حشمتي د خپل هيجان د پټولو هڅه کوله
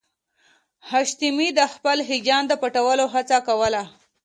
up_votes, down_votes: 0, 2